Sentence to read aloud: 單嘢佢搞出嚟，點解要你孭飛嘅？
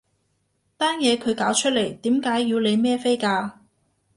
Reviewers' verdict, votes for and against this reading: rejected, 1, 3